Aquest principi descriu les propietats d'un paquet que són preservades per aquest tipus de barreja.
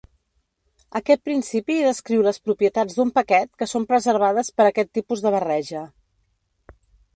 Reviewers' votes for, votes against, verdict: 2, 0, accepted